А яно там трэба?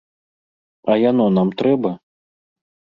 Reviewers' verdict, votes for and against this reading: rejected, 0, 2